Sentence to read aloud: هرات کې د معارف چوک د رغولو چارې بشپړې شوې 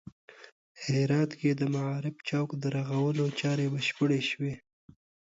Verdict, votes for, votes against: accepted, 2, 0